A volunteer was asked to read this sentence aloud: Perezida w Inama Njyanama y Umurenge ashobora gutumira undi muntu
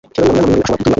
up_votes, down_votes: 1, 2